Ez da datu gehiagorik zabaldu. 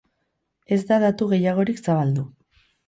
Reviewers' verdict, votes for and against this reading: accepted, 4, 0